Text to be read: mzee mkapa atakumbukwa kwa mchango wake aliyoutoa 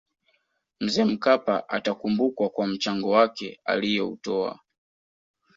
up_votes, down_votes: 2, 0